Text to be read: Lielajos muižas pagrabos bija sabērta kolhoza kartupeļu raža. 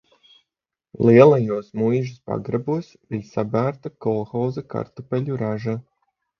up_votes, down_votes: 3, 0